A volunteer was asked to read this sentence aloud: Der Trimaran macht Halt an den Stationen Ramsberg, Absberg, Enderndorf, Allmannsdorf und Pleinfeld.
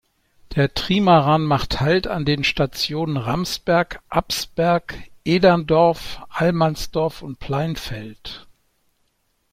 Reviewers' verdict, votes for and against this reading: rejected, 0, 2